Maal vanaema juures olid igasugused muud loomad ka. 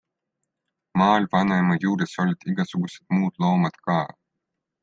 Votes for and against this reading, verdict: 2, 0, accepted